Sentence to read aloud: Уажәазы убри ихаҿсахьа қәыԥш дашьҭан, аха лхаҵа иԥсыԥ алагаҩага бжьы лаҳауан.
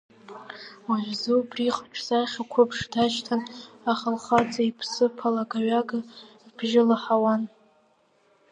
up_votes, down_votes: 1, 2